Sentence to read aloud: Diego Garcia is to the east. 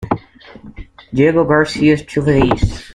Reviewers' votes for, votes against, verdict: 2, 0, accepted